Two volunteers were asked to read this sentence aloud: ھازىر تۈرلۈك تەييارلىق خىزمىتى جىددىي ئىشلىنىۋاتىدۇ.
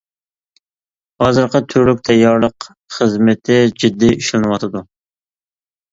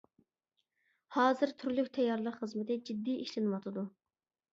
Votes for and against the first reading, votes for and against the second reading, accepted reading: 0, 2, 2, 0, second